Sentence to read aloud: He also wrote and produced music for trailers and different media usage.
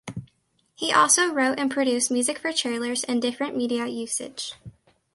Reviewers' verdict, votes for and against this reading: accepted, 2, 0